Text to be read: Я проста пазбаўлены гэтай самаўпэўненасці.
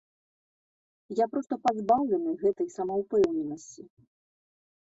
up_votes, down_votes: 2, 0